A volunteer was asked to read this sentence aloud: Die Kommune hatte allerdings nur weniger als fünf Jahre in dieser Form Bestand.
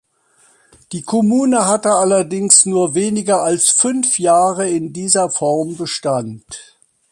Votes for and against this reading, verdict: 2, 0, accepted